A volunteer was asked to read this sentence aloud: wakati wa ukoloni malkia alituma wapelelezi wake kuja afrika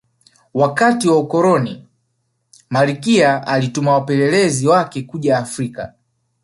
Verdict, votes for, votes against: accepted, 3, 0